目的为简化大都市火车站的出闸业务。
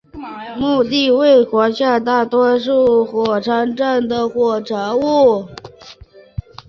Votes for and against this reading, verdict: 0, 2, rejected